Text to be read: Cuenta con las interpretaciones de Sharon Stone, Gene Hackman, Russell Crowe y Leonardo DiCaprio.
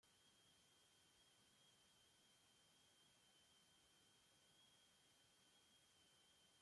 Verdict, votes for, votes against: rejected, 0, 2